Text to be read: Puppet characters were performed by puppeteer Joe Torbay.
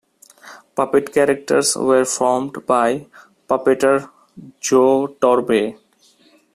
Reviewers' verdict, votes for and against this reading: rejected, 1, 2